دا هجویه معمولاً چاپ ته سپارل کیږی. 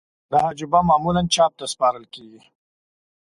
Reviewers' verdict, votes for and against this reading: accepted, 2, 0